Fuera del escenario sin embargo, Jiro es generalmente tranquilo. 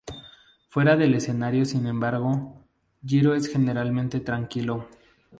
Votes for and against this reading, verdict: 0, 2, rejected